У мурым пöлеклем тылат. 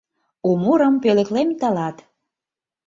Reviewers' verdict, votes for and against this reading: accepted, 2, 0